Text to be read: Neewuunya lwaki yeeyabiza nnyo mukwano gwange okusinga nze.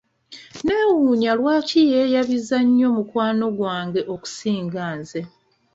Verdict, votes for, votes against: accepted, 2, 0